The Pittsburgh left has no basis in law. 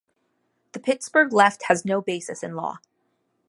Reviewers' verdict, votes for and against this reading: accepted, 2, 0